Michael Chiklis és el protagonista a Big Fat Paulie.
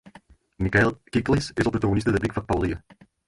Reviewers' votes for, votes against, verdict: 2, 8, rejected